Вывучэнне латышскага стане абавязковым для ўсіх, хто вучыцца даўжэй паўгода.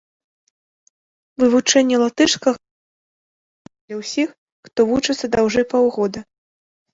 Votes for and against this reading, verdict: 0, 3, rejected